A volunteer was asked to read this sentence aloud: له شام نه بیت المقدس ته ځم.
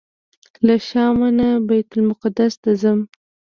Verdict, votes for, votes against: rejected, 0, 2